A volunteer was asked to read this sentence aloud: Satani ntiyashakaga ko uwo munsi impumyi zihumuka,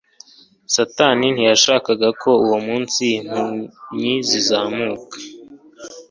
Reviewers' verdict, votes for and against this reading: rejected, 0, 2